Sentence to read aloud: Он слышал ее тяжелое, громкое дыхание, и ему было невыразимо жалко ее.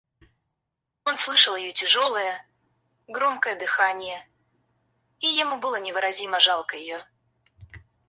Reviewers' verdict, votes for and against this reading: rejected, 2, 2